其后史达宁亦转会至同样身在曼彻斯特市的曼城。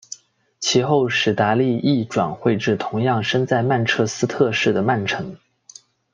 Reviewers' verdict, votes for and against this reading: accepted, 2, 1